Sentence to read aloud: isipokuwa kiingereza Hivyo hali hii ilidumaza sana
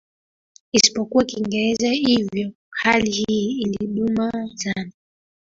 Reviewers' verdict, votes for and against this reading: rejected, 1, 2